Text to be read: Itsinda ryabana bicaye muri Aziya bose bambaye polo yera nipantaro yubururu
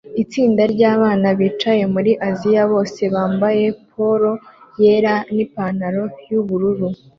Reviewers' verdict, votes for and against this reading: accepted, 2, 0